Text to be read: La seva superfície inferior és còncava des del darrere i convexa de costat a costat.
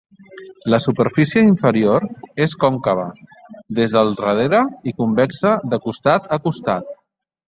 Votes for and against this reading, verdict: 1, 2, rejected